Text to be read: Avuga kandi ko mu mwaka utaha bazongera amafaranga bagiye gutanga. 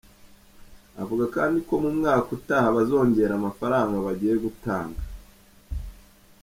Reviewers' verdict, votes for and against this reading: accepted, 2, 1